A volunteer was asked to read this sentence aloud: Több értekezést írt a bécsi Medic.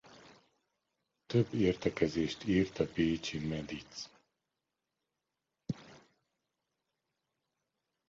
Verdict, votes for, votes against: rejected, 0, 2